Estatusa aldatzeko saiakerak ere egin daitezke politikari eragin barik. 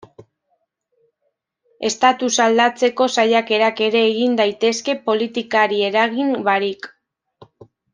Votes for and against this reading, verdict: 1, 2, rejected